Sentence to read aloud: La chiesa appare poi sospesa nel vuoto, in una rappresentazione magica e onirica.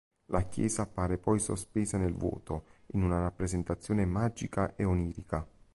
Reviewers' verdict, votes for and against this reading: accepted, 2, 0